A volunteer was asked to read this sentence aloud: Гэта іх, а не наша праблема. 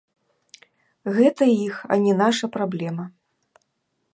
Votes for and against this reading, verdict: 1, 2, rejected